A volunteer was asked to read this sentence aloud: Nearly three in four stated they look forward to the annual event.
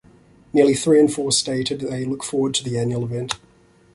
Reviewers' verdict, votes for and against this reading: accepted, 2, 0